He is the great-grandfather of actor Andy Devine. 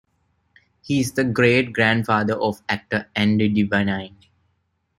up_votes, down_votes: 0, 2